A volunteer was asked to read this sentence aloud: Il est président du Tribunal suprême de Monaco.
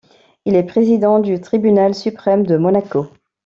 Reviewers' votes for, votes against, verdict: 2, 0, accepted